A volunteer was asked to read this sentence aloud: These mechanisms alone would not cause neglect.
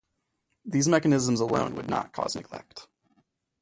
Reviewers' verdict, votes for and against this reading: accepted, 2, 0